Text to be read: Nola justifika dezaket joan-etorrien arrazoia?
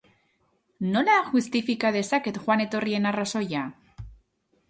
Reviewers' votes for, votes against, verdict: 2, 0, accepted